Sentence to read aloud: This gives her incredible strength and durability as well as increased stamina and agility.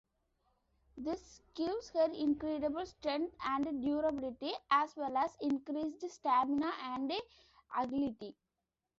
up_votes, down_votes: 2, 0